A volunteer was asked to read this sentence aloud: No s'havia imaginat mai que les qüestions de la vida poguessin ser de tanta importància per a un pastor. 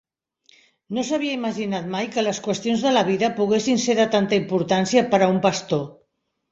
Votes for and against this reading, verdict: 3, 0, accepted